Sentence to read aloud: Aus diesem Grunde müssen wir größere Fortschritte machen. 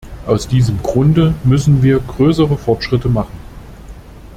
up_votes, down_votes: 2, 0